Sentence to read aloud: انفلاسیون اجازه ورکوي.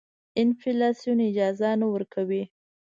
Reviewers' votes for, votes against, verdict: 0, 2, rejected